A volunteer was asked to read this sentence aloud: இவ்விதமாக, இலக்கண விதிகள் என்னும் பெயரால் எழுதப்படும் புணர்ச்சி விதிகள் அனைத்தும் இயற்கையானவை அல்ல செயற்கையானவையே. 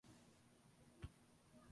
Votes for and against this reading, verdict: 0, 2, rejected